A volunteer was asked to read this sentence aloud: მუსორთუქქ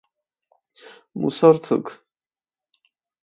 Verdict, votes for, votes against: rejected, 2, 4